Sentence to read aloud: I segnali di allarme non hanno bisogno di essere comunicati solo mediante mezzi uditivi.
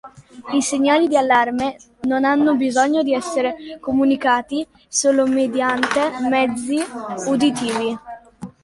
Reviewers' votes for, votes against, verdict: 2, 0, accepted